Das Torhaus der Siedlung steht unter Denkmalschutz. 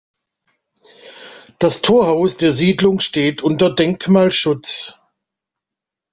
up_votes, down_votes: 2, 0